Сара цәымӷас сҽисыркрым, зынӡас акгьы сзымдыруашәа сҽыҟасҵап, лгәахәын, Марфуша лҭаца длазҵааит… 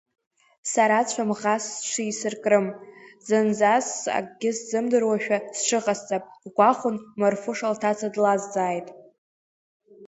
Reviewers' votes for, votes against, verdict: 0, 2, rejected